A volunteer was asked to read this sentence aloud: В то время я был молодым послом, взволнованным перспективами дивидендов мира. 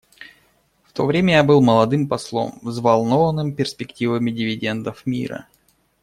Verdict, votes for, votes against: accepted, 2, 0